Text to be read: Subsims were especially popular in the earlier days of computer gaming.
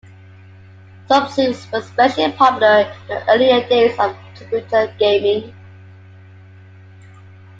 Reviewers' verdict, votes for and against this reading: accepted, 2, 1